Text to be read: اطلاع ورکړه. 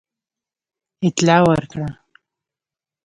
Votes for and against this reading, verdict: 1, 2, rejected